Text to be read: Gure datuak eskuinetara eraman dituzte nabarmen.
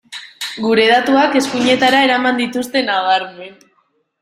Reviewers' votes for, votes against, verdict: 2, 0, accepted